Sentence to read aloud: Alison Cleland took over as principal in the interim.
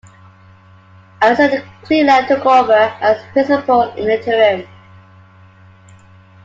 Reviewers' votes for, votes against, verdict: 2, 0, accepted